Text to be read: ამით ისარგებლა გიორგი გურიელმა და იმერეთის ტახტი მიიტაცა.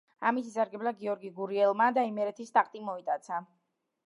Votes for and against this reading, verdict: 2, 1, accepted